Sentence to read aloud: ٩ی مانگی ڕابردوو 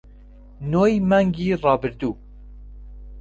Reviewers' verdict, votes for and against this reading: rejected, 0, 2